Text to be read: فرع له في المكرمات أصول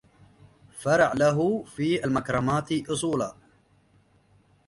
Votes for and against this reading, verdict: 0, 2, rejected